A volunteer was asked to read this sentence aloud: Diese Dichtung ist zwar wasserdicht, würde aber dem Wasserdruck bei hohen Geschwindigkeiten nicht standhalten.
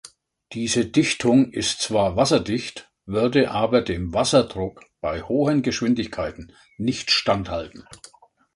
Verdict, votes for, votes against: accepted, 2, 0